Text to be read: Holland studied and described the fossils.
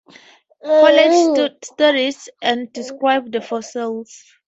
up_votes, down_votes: 0, 2